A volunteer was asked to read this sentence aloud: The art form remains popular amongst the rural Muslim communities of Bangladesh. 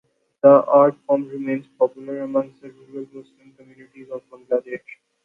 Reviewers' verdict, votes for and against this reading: rejected, 0, 2